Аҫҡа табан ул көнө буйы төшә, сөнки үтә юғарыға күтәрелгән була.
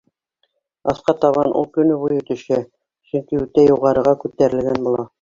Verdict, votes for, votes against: rejected, 0, 2